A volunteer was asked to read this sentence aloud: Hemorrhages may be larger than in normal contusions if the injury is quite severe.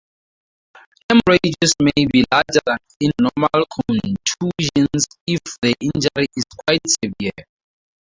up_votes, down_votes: 2, 4